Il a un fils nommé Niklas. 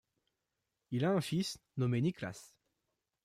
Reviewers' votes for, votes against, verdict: 2, 0, accepted